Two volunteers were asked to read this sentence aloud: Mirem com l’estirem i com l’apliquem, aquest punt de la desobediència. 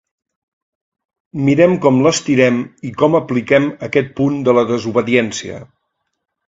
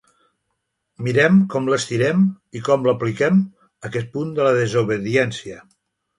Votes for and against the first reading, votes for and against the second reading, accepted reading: 1, 2, 3, 0, second